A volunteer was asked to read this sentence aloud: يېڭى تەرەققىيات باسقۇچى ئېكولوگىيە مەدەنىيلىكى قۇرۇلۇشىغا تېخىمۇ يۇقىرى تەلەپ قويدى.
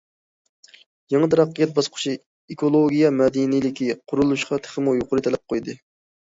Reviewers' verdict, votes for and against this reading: accepted, 2, 0